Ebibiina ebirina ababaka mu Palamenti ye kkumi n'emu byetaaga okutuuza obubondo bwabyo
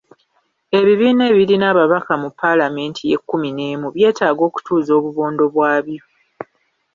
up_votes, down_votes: 2, 0